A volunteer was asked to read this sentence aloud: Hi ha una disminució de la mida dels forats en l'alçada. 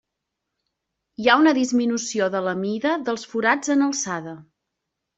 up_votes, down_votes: 0, 2